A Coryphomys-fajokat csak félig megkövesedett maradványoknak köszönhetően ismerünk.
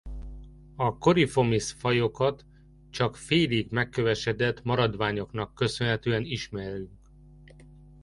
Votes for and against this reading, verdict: 0, 2, rejected